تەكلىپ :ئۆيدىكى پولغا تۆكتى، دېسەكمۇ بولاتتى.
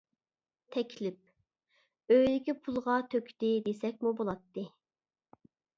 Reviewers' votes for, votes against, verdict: 0, 2, rejected